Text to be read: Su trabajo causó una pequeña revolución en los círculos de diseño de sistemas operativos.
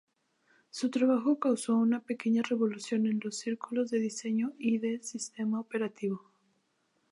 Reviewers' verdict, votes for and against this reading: rejected, 0, 2